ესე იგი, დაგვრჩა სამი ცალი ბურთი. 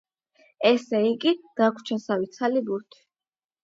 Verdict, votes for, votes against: accepted, 8, 0